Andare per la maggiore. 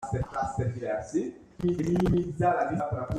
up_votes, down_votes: 0, 2